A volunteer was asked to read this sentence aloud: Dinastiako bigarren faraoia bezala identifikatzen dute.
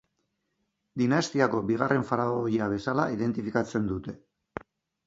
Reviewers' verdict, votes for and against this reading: accepted, 2, 0